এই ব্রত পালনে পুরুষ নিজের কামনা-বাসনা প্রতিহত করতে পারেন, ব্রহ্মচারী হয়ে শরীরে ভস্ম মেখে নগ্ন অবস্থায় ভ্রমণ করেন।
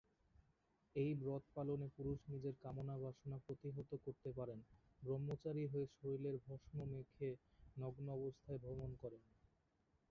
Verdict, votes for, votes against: rejected, 0, 2